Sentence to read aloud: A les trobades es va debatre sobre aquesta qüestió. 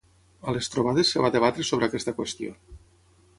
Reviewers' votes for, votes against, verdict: 6, 0, accepted